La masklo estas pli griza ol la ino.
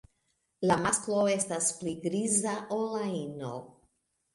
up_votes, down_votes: 0, 2